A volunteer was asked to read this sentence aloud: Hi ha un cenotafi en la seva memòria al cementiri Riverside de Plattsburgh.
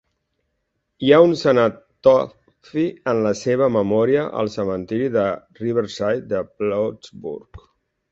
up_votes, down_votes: 0, 2